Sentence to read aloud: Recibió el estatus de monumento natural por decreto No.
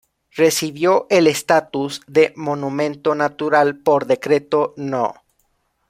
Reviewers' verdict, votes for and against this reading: accepted, 2, 1